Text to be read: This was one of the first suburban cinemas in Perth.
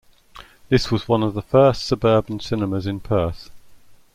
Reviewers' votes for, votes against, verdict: 2, 0, accepted